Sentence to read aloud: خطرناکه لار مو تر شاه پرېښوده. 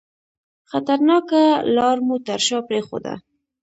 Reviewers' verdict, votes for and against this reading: rejected, 1, 2